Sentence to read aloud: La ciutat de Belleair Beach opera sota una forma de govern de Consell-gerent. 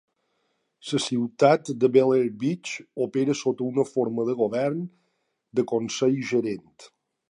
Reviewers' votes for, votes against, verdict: 1, 2, rejected